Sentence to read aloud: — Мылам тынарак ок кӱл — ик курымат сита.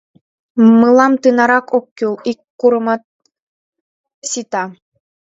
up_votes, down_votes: 2, 0